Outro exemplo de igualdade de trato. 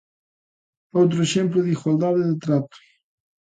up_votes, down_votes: 2, 0